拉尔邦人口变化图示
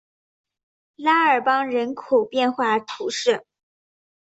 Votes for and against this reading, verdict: 3, 0, accepted